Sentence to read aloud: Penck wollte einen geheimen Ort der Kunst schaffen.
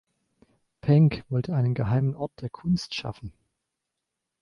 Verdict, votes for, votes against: accepted, 2, 0